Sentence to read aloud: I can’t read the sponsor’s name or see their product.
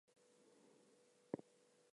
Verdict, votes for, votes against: rejected, 0, 2